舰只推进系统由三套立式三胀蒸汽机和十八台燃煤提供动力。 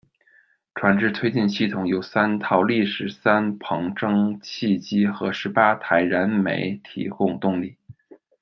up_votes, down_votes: 0, 2